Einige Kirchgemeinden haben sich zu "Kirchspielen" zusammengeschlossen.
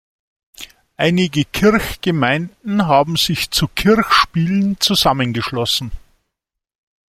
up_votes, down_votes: 2, 0